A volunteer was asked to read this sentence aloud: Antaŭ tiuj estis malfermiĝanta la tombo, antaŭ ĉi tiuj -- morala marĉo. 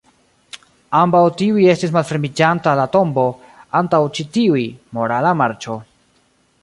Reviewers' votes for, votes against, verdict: 0, 2, rejected